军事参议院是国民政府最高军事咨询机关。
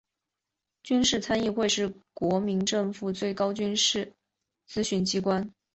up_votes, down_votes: 3, 2